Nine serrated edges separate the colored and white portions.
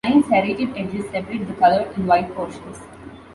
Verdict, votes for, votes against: accepted, 2, 0